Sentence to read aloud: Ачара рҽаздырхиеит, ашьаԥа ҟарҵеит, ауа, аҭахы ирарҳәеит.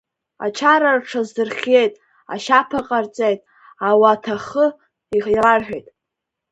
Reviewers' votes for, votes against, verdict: 11, 10, accepted